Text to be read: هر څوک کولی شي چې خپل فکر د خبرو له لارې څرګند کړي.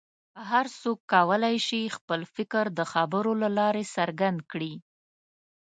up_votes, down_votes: 2, 0